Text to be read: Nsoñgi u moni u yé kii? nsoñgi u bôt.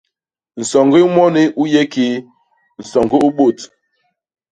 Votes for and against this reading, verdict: 2, 0, accepted